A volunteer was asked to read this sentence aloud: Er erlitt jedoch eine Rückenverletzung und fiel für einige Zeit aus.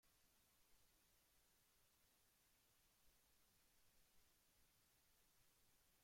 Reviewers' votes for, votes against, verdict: 0, 2, rejected